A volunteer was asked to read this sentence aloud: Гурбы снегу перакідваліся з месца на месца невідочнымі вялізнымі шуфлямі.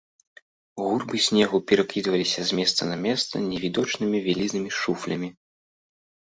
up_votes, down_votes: 2, 0